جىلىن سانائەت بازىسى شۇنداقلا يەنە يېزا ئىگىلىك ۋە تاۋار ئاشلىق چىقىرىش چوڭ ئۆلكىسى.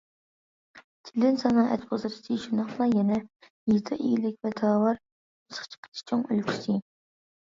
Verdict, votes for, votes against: rejected, 0, 2